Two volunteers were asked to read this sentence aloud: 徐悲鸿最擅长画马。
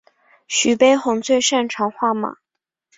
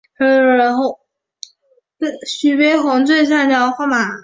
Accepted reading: first